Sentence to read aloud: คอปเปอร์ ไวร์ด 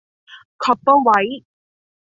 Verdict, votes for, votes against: rejected, 1, 2